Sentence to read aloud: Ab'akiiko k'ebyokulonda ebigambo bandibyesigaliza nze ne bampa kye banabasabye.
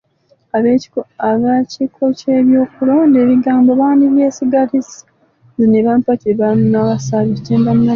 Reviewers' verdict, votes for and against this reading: rejected, 0, 2